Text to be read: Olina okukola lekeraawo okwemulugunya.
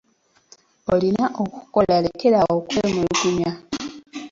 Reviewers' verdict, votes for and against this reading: rejected, 0, 2